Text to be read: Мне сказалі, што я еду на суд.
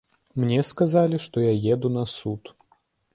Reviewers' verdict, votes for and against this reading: accepted, 2, 0